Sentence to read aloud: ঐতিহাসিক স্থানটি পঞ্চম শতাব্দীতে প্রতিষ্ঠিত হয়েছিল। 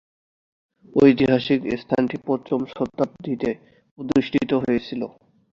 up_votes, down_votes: 2, 0